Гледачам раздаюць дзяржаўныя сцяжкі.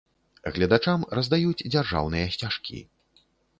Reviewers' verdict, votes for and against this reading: accepted, 2, 0